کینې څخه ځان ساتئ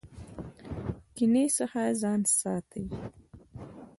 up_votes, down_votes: 2, 1